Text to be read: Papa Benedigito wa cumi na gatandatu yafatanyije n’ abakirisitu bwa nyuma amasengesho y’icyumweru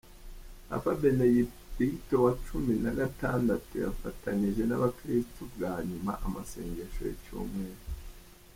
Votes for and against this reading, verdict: 1, 2, rejected